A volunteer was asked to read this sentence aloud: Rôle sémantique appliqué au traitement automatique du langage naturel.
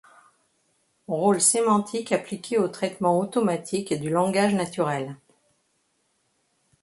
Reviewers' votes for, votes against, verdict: 2, 0, accepted